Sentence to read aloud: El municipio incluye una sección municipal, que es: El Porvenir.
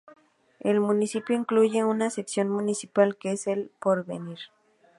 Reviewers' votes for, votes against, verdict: 2, 0, accepted